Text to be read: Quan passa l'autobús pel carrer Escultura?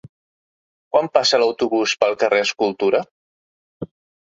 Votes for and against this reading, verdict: 3, 0, accepted